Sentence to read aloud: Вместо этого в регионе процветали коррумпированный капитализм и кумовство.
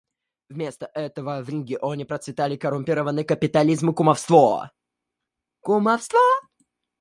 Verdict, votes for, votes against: rejected, 1, 2